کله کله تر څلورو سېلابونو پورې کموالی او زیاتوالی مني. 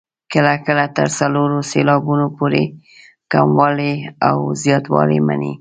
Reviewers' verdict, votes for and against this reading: accepted, 3, 0